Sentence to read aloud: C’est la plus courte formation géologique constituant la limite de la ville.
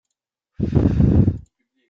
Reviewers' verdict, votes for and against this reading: rejected, 0, 2